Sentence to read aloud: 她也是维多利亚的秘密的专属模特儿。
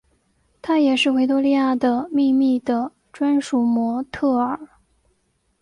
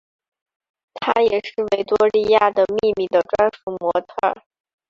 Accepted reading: first